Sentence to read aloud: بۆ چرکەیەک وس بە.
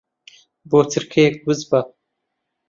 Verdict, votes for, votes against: accepted, 2, 0